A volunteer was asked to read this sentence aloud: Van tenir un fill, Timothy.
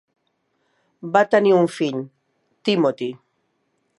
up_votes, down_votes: 0, 2